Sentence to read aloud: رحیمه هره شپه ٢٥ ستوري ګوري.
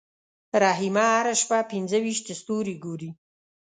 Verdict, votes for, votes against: rejected, 0, 2